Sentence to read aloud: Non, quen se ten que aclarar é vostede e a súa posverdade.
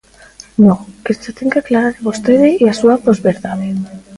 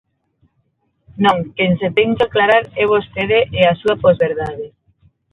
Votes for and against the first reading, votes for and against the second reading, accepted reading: 0, 2, 6, 0, second